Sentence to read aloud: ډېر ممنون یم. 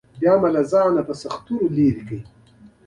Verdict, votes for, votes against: rejected, 0, 2